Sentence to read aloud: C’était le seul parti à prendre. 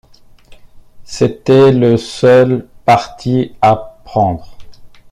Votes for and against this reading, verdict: 2, 0, accepted